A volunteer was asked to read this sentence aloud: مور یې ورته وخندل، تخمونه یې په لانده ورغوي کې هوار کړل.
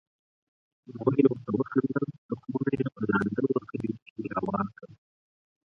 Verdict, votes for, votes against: rejected, 0, 4